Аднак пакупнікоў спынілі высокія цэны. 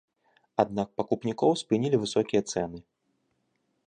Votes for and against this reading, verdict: 2, 0, accepted